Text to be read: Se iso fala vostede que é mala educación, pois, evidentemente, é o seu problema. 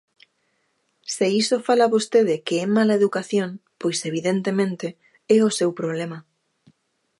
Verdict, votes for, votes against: accepted, 2, 0